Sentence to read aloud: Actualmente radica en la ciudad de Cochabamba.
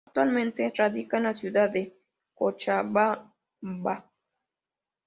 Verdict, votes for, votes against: accepted, 2, 0